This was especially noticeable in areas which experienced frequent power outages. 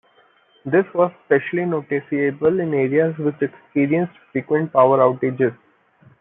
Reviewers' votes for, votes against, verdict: 1, 2, rejected